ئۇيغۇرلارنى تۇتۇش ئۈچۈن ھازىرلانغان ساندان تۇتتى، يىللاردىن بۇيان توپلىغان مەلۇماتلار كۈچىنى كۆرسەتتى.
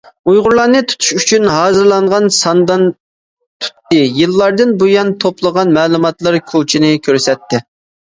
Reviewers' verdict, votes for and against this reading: rejected, 1, 2